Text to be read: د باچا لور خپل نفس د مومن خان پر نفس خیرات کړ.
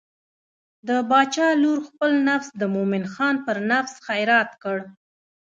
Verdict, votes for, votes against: rejected, 1, 2